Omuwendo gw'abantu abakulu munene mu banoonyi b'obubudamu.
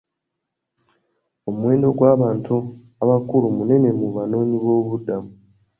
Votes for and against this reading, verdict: 2, 0, accepted